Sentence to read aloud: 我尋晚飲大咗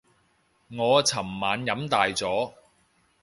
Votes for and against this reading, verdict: 2, 0, accepted